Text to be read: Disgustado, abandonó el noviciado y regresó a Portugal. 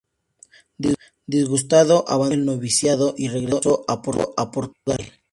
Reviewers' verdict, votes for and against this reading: rejected, 0, 2